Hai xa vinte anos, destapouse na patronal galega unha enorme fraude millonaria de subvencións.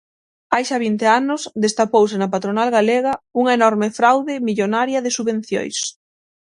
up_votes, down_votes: 6, 3